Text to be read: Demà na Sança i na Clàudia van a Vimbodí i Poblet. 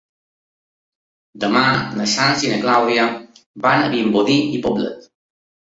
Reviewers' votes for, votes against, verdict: 2, 0, accepted